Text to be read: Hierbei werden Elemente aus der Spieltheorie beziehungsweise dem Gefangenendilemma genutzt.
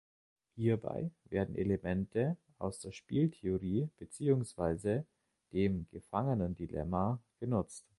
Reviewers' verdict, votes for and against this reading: accepted, 2, 0